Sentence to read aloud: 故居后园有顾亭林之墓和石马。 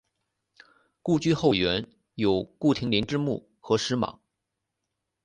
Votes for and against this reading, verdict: 2, 0, accepted